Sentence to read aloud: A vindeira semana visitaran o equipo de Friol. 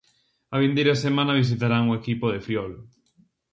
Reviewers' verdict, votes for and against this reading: rejected, 0, 2